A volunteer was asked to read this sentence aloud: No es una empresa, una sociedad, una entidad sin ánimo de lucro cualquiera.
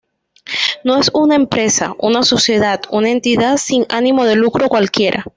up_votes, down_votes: 2, 0